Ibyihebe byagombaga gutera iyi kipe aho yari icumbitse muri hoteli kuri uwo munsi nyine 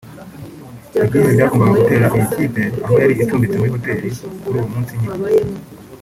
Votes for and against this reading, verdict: 0, 2, rejected